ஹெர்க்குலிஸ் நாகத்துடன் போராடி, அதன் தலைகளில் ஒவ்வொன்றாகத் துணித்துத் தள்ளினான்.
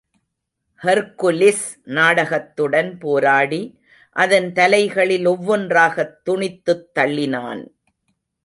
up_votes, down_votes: 1, 2